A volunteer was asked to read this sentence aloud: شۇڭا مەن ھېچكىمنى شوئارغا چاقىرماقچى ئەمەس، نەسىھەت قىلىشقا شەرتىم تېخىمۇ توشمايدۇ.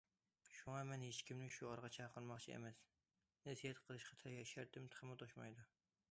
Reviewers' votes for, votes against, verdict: 0, 2, rejected